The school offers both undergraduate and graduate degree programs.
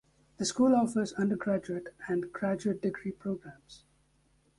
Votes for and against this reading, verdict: 0, 2, rejected